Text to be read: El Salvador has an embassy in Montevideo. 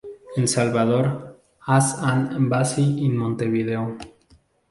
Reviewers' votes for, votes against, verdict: 0, 2, rejected